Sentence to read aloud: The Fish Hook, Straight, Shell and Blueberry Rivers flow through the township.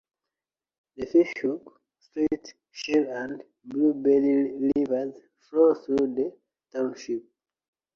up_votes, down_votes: 1, 2